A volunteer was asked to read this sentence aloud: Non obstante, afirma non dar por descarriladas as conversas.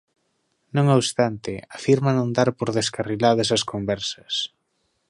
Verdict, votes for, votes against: accepted, 2, 1